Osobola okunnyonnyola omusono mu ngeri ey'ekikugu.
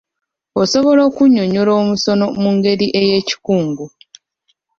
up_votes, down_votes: 1, 2